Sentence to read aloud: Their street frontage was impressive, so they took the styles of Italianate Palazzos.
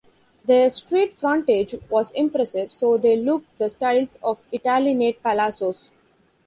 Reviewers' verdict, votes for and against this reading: rejected, 0, 2